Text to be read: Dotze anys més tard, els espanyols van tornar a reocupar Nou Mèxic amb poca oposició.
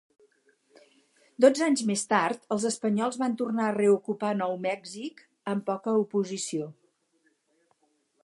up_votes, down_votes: 0, 2